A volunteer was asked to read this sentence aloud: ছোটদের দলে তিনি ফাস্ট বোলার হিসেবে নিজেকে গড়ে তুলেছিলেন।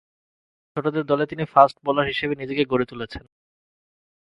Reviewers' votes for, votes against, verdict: 2, 0, accepted